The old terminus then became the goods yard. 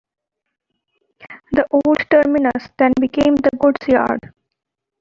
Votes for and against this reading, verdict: 1, 2, rejected